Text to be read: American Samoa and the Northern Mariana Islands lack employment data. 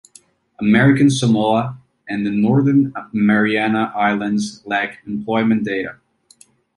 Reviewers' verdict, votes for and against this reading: accepted, 2, 0